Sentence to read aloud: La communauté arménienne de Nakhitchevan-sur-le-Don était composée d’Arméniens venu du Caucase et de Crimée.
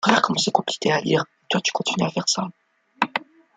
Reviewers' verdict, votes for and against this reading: rejected, 0, 2